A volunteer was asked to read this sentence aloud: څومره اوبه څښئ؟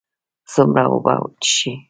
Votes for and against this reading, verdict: 1, 2, rejected